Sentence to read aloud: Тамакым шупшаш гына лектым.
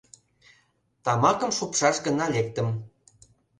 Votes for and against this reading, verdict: 2, 0, accepted